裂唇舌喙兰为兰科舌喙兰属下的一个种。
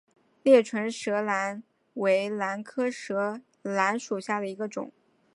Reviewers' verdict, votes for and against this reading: rejected, 1, 2